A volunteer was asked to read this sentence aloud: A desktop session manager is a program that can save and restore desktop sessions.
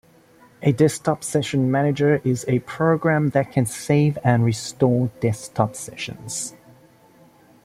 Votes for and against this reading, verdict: 1, 2, rejected